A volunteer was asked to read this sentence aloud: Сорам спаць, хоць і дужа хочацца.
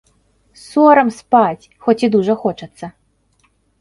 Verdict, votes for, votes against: accepted, 2, 0